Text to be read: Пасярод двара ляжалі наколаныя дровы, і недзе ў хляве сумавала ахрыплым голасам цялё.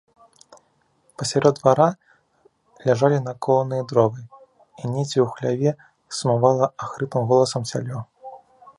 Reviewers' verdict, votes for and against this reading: accepted, 2, 0